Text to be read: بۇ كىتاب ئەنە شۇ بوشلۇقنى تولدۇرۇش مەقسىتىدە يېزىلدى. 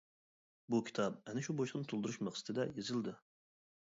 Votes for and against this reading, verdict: 1, 2, rejected